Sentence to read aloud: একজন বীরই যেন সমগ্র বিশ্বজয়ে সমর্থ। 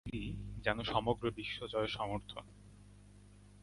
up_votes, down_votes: 0, 2